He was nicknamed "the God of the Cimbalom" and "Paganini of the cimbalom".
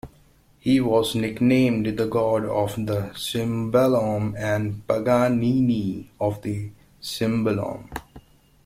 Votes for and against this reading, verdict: 2, 0, accepted